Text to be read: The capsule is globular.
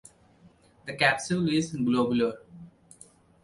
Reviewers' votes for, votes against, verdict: 2, 0, accepted